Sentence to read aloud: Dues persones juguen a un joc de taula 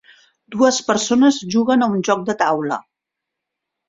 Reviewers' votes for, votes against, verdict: 3, 0, accepted